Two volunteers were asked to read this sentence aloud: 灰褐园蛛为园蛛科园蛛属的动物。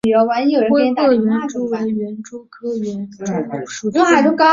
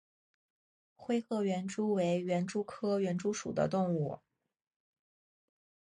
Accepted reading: second